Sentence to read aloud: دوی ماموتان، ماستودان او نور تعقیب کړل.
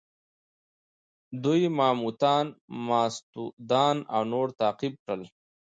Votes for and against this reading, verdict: 2, 0, accepted